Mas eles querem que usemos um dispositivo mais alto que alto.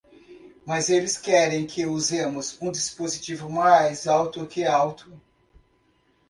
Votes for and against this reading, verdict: 1, 2, rejected